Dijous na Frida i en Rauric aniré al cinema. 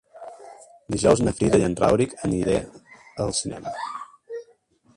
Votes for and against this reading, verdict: 0, 2, rejected